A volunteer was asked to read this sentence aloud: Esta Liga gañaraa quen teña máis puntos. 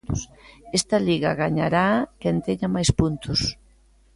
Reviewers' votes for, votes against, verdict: 2, 0, accepted